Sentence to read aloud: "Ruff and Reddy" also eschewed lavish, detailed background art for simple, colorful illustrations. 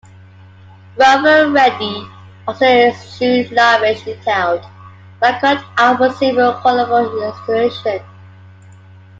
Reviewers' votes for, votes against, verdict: 3, 2, accepted